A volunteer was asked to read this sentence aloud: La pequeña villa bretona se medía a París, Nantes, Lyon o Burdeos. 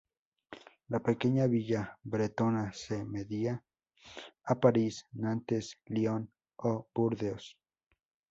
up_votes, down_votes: 0, 2